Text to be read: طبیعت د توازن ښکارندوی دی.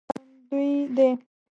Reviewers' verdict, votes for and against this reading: rejected, 0, 2